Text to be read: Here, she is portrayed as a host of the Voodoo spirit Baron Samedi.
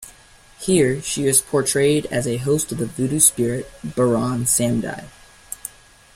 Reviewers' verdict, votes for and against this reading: accepted, 2, 0